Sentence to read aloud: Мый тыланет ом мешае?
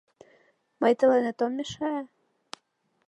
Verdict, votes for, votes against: accepted, 2, 1